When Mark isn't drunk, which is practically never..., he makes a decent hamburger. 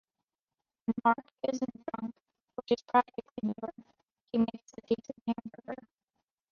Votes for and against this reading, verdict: 0, 2, rejected